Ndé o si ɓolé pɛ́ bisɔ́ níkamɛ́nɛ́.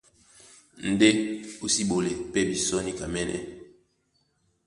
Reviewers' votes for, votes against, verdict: 2, 0, accepted